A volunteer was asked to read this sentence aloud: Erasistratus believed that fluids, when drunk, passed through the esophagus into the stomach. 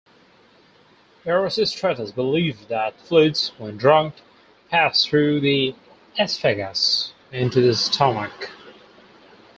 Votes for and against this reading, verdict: 2, 6, rejected